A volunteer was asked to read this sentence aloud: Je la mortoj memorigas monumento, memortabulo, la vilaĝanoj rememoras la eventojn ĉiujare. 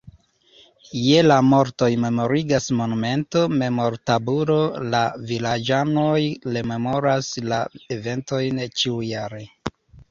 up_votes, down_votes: 2, 0